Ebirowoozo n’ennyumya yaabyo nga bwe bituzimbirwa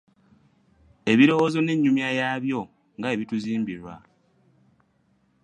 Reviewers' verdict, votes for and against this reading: accepted, 2, 0